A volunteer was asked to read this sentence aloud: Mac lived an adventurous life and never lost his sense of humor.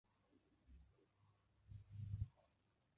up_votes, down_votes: 0, 2